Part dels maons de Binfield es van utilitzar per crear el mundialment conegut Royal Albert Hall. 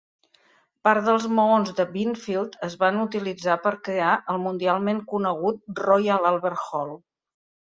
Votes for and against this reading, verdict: 2, 0, accepted